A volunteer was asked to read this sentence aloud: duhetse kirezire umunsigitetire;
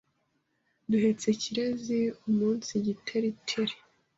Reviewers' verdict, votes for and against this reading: rejected, 1, 2